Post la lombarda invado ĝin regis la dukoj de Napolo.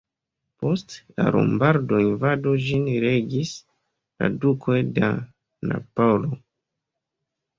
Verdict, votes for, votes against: rejected, 0, 2